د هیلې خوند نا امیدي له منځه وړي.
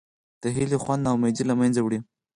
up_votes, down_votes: 4, 0